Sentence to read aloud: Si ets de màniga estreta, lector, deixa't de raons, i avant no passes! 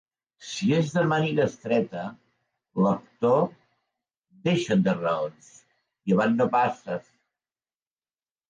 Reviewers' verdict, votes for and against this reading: accepted, 2, 0